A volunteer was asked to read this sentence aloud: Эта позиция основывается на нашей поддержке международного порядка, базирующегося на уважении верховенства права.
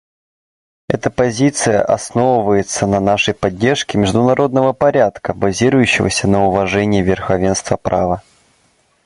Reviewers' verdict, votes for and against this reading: accepted, 2, 0